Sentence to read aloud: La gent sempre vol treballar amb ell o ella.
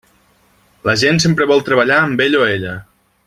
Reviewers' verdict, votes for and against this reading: accepted, 2, 1